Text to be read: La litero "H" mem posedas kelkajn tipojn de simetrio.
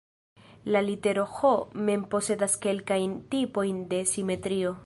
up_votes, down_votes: 2, 1